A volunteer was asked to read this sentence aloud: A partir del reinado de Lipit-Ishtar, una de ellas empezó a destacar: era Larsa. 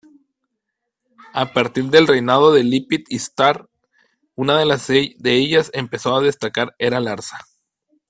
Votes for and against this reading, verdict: 0, 2, rejected